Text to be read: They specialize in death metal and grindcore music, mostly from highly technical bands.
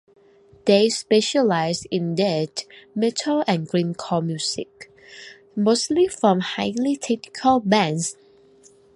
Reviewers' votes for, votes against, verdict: 1, 2, rejected